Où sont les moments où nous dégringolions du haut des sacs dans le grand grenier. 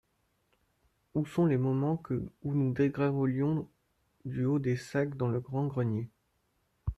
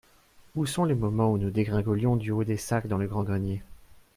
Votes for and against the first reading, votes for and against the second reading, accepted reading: 1, 2, 4, 0, second